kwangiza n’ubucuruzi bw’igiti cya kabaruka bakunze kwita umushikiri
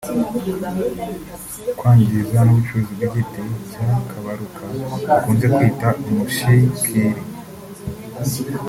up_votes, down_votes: 1, 2